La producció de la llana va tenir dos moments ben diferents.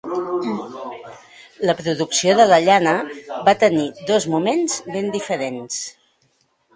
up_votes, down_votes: 1, 2